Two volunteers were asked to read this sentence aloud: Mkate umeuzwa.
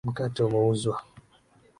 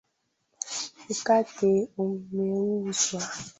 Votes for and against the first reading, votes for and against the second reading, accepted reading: 3, 0, 0, 2, first